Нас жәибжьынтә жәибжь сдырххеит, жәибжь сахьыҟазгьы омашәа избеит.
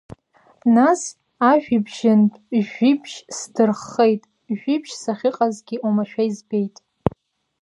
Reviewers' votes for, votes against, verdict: 1, 2, rejected